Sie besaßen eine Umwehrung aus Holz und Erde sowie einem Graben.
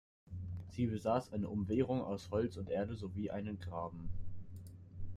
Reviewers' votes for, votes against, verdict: 2, 0, accepted